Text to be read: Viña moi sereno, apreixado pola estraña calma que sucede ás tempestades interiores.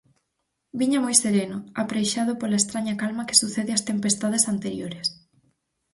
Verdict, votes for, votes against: rejected, 2, 4